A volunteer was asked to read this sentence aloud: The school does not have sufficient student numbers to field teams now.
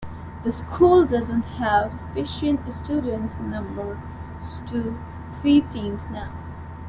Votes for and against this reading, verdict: 0, 2, rejected